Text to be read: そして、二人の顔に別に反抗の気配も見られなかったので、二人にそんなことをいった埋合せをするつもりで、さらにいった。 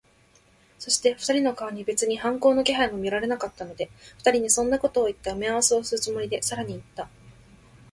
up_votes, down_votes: 2, 0